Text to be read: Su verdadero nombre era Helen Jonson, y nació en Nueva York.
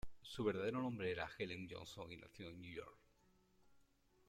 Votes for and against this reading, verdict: 1, 2, rejected